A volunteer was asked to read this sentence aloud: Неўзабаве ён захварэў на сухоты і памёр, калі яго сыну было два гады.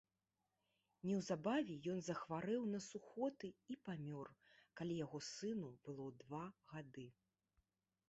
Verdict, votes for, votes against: rejected, 1, 2